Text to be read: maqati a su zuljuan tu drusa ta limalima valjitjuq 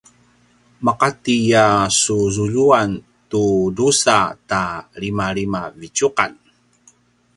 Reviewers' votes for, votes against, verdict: 0, 2, rejected